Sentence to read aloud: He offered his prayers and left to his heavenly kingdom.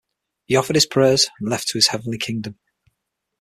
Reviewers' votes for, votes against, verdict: 6, 3, accepted